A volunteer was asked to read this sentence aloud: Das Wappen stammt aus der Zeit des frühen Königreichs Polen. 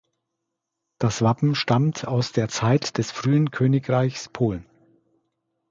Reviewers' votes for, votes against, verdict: 2, 0, accepted